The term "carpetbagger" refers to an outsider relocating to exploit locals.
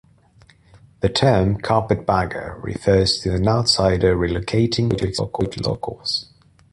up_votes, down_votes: 0, 2